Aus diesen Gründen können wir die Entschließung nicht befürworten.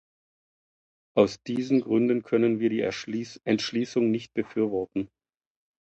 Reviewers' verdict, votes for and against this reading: rejected, 0, 2